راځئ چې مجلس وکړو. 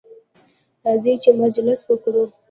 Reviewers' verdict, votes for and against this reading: rejected, 0, 2